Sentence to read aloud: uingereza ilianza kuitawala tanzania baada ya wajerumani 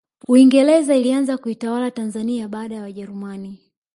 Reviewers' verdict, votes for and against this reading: accepted, 2, 1